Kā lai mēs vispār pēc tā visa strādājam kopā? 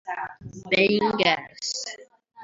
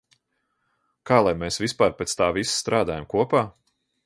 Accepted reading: second